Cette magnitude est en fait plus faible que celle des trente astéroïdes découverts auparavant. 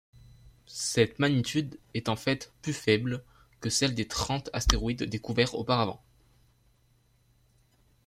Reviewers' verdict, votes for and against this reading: accepted, 2, 0